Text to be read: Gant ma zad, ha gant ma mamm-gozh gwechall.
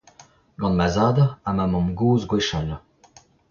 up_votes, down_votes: 0, 2